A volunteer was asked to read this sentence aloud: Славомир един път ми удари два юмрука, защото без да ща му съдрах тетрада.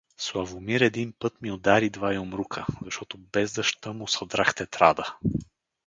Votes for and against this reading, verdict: 2, 0, accepted